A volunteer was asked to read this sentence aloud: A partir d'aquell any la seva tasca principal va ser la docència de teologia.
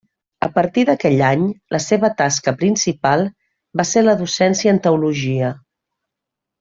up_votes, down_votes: 1, 2